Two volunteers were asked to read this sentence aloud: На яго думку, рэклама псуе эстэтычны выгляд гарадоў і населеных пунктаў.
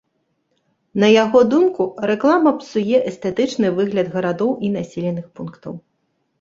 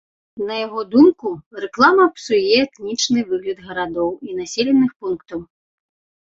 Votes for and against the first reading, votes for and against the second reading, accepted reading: 2, 0, 0, 2, first